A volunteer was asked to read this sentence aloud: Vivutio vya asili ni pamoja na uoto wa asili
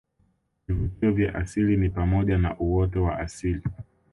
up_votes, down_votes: 2, 0